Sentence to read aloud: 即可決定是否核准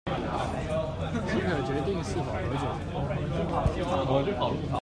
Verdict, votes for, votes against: rejected, 1, 2